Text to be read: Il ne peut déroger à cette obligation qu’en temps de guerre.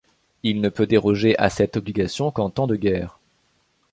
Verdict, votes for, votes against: accepted, 2, 0